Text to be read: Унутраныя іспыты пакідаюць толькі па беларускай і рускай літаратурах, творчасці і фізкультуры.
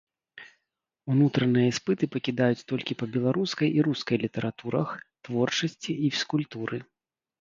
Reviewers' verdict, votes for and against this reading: accepted, 4, 0